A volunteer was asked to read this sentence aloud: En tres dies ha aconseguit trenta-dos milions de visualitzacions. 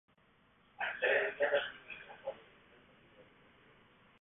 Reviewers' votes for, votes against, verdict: 1, 2, rejected